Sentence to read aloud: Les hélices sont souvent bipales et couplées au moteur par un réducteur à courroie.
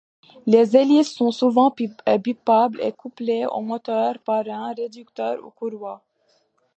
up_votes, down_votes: 1, 2